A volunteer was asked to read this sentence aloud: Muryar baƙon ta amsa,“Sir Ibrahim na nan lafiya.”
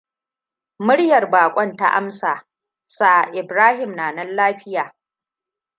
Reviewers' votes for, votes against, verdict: 2, 0, accepted